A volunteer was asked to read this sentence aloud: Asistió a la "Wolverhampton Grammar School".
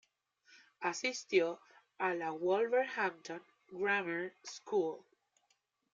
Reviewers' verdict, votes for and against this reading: rejected, 1, 2